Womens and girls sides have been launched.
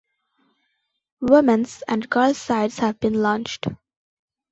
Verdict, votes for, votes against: accepted, 2, 0